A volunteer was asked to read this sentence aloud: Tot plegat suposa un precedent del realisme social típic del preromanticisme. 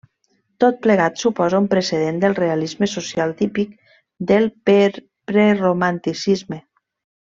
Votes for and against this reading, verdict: 1, 2, rejected